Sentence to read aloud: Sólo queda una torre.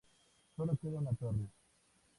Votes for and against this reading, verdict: 2, 0, accepted